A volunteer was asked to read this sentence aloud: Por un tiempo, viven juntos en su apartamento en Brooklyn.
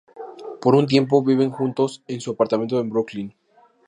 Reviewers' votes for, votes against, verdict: 2, 0, accepted